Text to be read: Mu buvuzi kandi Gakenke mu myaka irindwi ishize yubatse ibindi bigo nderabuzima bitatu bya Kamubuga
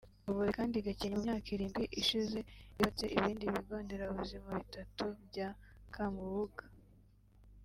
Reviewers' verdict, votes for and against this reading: rejected, 1, 2